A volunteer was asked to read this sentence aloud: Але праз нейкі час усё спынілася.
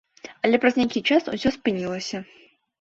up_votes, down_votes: 2, 0